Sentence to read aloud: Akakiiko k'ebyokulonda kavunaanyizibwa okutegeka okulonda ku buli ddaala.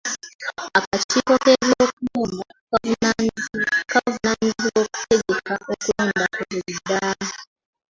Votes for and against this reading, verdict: 1, 2, rejected